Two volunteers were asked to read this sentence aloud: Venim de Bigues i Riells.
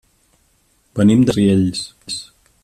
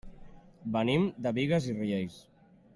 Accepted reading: second